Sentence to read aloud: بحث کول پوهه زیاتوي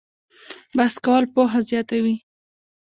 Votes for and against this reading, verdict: 0, 2, rejected